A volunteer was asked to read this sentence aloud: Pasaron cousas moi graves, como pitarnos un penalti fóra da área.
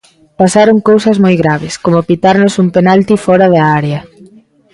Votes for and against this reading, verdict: 2, 0, accepted